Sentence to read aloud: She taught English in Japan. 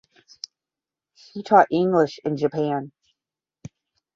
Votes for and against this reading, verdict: 5, 5, rejected